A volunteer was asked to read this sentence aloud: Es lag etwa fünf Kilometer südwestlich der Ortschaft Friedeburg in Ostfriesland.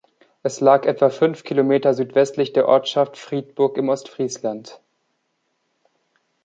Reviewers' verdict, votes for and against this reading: rejected, 1, 2